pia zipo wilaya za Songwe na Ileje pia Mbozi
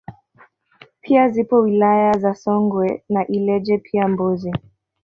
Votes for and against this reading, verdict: 1, 2, rejected